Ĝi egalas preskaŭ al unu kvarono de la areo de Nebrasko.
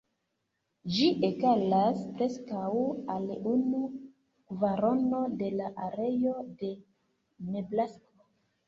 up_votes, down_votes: 0, 2